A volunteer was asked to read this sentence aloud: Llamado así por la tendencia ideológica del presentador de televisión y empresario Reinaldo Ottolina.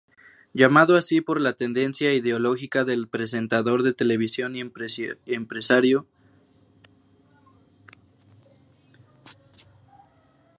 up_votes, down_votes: 0, 2